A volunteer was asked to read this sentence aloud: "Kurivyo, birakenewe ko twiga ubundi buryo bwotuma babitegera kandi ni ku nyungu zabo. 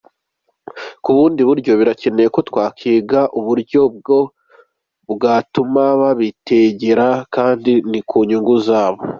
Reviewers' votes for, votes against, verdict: 1, 3, rejected